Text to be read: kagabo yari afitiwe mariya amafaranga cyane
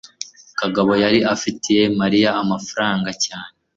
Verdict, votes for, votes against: accepted, 2, 0